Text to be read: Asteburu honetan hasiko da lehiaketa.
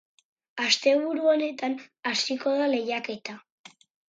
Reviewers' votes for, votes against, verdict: 2, 2, rejected